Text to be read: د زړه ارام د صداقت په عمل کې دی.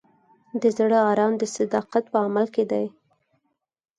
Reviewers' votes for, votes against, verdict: 4, 0, accepted